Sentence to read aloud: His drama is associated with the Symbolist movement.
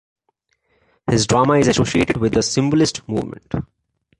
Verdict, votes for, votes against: accepted, 2, 0